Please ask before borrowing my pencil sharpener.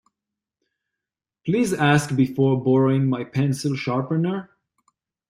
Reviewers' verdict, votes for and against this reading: accepted, 2, 0